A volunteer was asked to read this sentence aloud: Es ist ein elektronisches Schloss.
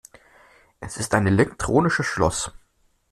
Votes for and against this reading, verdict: 2, 0, accepted